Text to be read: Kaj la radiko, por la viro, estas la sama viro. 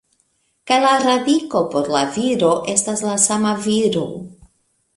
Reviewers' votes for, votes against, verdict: 1, 2, rejected